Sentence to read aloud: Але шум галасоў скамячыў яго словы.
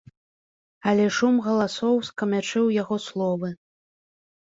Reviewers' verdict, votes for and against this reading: rejected, 0, 2